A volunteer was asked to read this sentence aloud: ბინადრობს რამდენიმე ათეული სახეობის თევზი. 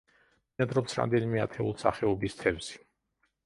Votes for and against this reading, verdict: 0, 2, rejected